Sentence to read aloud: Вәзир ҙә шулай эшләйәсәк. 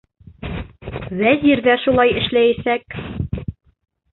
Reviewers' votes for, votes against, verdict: 1, 2, rejected